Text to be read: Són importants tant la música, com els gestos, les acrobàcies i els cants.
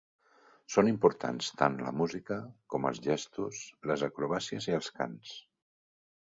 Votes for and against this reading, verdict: 3, 1, accepted